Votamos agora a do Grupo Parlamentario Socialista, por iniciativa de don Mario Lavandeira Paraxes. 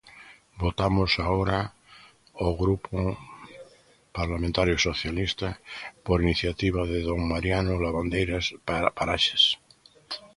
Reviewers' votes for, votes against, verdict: 0, 2, rejected